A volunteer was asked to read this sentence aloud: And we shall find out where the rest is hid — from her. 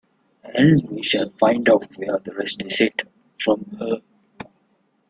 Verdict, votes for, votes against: rejected, 1, 2